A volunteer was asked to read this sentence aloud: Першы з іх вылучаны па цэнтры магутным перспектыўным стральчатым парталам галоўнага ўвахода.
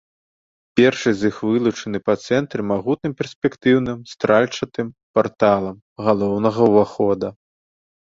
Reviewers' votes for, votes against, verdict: 0, 2, rejected